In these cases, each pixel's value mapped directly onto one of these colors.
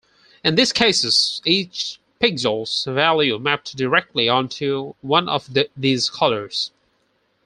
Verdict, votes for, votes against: rejected, 0, 4